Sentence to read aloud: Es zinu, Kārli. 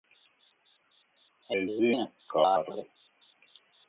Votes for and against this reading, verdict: 0, 4, rejected